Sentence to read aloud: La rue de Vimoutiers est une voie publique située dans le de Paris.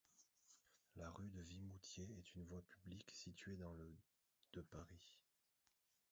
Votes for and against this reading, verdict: 0, 2, rejected